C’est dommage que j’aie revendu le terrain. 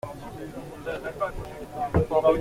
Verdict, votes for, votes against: rejected, 0, 2